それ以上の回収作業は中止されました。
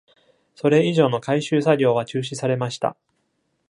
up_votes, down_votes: 2, 0